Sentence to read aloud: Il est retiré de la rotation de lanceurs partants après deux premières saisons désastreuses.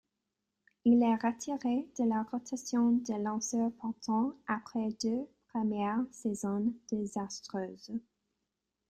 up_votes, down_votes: 2, 1